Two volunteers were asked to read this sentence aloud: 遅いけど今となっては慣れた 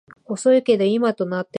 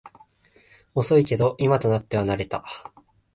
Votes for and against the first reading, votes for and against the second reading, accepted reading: 0, 2, 6, 0, second